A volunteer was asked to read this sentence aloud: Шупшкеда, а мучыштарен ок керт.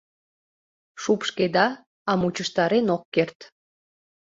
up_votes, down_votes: 2, 0